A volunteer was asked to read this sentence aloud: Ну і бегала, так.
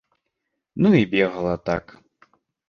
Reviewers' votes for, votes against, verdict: 2, 0, accepted